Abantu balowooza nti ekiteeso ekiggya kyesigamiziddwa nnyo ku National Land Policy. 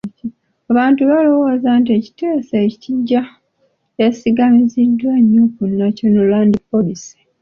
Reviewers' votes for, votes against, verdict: 2, 0, accepted